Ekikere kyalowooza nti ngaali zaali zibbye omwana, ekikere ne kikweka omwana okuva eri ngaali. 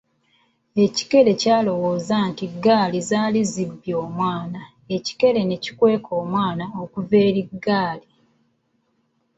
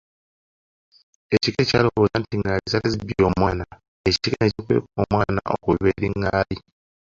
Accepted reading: first